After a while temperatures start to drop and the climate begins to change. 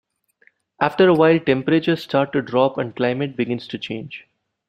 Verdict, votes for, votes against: rejected, 1, 2